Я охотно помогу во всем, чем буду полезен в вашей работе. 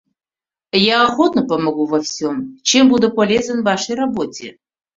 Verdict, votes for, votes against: rejected, 1, 2